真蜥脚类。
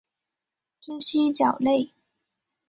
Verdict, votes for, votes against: accepted, 2, 0